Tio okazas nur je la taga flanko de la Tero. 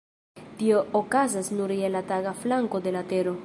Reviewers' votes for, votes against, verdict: 2, 0, accepted